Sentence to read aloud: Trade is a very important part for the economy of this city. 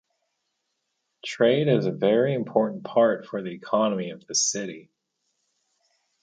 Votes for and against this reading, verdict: 2, 2, rejected